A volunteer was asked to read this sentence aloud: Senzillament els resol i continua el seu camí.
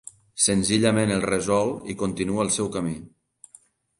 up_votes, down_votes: 2, 1